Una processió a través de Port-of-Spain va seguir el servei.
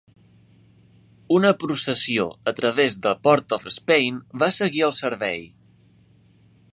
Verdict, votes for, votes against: accepted, 2, 0